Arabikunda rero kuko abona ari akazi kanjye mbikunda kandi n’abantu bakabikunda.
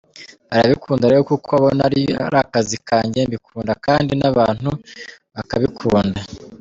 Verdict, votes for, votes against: rejected, 0, 3